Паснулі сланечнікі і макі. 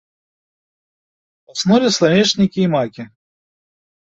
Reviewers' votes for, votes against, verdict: 2, 0, accepted